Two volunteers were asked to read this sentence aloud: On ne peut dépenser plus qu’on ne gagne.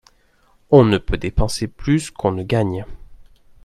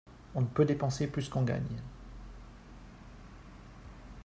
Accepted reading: first